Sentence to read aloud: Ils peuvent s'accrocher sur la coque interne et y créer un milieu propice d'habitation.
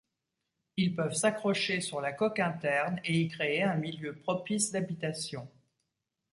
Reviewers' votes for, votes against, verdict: 2, 0, accepted